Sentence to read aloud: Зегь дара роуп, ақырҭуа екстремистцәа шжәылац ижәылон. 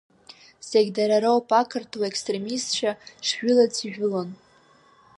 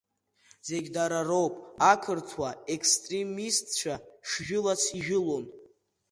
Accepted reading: first